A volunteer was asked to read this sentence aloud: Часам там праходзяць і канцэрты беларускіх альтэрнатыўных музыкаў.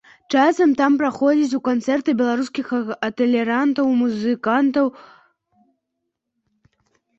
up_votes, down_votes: 0, 2